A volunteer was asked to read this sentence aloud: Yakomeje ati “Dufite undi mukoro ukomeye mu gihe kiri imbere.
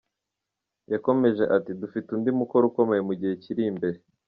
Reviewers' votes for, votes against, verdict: 2, 0, accepted